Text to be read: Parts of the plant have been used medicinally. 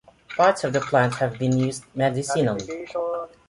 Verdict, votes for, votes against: accepted, 2, 0